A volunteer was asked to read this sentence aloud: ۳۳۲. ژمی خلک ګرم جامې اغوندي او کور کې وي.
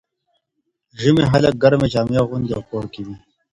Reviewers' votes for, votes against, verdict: 0, 2, rejected